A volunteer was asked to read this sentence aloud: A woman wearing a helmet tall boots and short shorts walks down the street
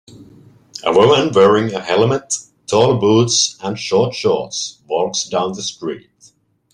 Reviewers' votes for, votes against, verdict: 2, 0, accepted